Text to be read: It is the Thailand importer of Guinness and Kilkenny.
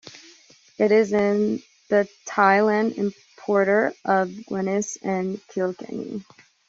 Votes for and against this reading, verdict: 1, 2, rejected